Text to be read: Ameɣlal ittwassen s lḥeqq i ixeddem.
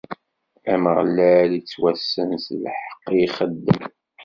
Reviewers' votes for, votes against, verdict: 2, 0, accepted